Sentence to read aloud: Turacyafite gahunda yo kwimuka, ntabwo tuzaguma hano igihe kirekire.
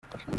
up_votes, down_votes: 0, 2